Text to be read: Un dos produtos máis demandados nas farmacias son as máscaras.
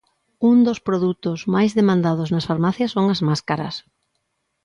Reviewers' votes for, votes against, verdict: 2, 0, accepted